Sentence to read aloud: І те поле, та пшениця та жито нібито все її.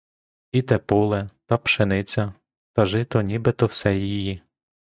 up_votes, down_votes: 2, 0